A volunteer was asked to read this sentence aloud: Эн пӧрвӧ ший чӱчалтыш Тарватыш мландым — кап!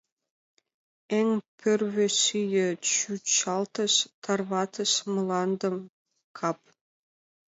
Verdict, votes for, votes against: accepted, 2, 0